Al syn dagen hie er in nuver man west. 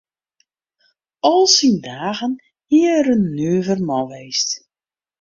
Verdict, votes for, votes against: accepted, 2, 0